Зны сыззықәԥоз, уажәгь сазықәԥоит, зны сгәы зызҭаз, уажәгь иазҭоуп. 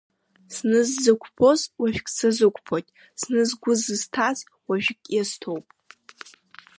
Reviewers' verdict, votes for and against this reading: accepted, 2, 0